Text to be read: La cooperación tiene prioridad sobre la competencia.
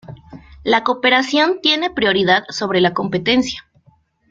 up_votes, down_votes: 2, 0